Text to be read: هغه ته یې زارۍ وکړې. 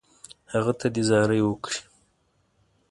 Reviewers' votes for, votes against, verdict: 3, 0, accepted